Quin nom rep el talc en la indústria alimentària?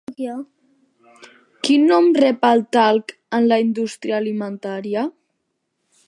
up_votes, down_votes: 3, 1